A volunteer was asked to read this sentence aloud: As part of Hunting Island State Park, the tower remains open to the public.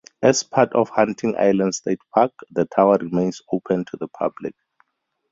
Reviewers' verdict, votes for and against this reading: accepted, 4, 0